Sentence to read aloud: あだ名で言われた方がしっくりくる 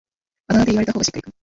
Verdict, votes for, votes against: rejected, 0, 2